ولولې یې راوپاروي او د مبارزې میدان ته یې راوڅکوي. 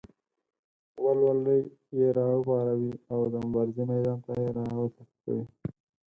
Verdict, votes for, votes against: rejected, 0, 4